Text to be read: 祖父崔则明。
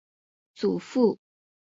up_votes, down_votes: 0, 5